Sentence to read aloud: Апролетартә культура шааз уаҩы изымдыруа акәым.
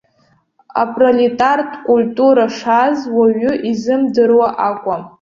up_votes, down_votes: 2, 1